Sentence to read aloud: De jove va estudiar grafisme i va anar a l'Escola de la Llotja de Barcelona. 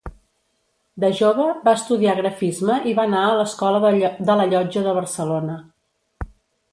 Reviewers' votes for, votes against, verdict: 1, 2, rejected